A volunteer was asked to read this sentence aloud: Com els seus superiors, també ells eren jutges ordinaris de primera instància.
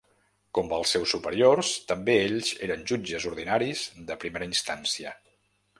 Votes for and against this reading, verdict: 2, 0, accepted